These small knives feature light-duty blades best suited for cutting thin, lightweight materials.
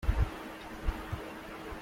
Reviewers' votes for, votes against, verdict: 0, 2, rejected